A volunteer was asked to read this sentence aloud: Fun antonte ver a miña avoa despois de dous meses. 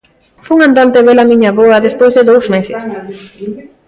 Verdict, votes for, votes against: rejected, 0, 3